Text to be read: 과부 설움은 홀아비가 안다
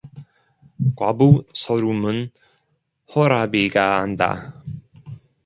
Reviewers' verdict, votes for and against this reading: rejected, 0, 2